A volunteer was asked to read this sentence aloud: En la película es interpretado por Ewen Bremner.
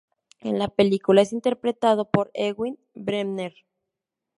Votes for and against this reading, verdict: 0, 2, rejected